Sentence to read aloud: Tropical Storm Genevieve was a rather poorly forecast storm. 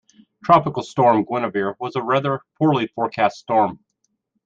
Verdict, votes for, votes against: rejected, 0, 2